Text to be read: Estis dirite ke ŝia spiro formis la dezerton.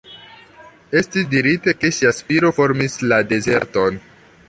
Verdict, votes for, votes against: rejected, 0, 2